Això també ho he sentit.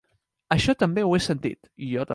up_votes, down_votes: 1, 3